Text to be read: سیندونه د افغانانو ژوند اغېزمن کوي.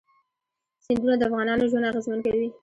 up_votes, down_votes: 2, 0